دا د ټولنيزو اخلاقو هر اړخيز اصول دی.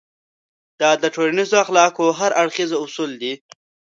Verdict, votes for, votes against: rejected, 0, 2